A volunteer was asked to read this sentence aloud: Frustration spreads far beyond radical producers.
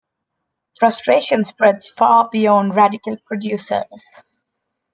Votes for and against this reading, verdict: 2, 0, accepted